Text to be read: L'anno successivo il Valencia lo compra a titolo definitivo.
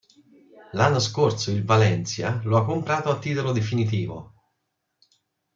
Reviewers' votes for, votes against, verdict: 0, 2, rejected